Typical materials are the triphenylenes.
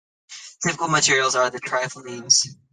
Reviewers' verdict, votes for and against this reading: rejected, 0, 2